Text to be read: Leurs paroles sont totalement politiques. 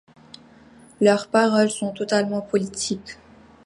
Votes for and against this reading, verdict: 2, 0, accepted